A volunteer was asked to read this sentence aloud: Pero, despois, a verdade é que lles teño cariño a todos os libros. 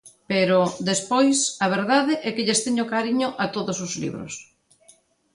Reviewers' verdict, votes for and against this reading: accepted, 2, 0